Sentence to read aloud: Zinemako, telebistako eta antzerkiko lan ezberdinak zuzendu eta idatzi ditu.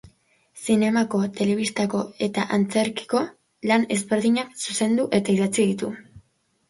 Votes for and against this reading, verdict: 2, 0, accepted